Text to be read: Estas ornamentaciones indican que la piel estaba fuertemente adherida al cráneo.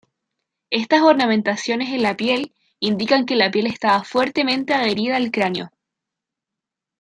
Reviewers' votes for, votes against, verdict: 1, 2, rejected